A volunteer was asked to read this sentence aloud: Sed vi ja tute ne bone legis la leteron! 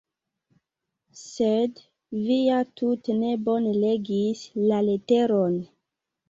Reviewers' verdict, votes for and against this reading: accepted, 2, 0